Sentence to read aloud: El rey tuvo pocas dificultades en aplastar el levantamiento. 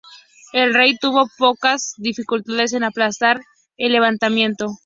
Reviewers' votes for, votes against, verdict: 2, 0, accepted